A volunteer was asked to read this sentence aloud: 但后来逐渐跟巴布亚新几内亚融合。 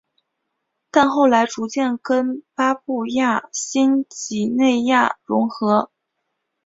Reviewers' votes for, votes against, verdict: 4, 0, accepted